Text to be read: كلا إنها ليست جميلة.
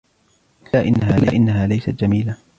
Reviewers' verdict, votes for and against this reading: rejected, 1, 2